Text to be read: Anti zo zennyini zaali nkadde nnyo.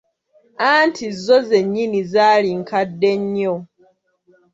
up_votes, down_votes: 2, 0